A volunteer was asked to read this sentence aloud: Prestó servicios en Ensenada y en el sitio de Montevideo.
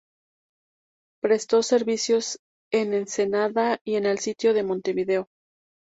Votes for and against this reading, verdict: 2, 0, accepted